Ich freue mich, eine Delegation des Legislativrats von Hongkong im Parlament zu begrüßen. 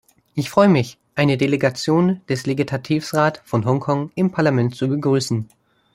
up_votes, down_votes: 0, 2